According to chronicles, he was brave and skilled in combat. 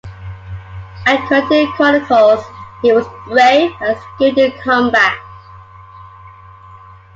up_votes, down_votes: 2, 1